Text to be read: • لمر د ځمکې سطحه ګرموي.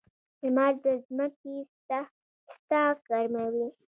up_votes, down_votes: 0, 2